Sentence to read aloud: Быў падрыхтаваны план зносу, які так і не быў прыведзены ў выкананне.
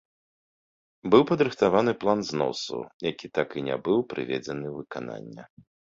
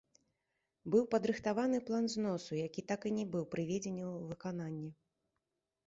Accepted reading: first